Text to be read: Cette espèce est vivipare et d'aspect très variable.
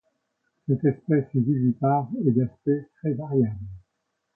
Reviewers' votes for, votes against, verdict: 2, 0, accepted